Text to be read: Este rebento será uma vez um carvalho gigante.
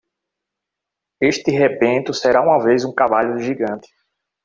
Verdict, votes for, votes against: rejected, 1, 2